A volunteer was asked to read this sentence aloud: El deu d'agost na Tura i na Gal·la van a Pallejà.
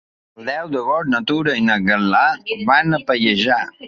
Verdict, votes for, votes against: rejected, 1, 2